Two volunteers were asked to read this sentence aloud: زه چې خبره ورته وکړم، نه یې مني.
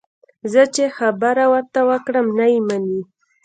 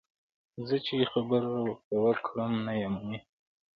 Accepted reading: second